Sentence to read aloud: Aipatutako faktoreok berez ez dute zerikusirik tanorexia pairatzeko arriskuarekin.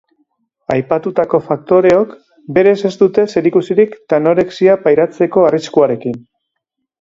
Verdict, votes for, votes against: accepted, 2, 0